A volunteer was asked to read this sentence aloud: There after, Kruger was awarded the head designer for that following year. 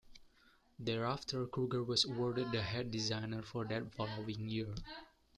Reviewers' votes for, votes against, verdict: 1, 2, rejected